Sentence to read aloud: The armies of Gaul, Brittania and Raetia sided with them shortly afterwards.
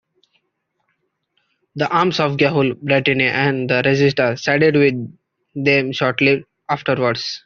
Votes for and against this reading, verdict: 0, 2, rejected